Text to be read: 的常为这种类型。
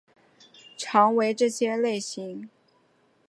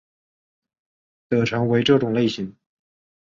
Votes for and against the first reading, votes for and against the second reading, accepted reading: 1, 2, 4, 0, second